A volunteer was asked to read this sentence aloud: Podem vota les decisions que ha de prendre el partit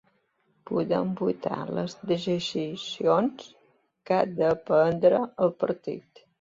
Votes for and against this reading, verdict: 0, 2, rejected